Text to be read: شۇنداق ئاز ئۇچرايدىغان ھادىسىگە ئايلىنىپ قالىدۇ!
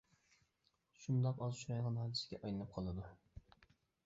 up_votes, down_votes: 0, 2